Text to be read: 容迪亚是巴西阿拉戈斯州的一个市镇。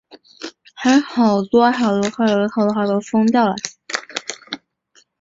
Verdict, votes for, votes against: rejected, 0, 2